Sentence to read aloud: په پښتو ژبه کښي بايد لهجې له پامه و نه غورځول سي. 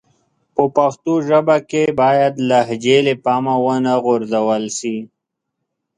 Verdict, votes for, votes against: accepted, 2, 1